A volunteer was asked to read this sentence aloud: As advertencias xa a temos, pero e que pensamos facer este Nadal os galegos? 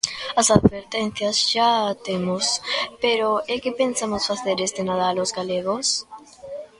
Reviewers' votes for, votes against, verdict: 0, 2, rejected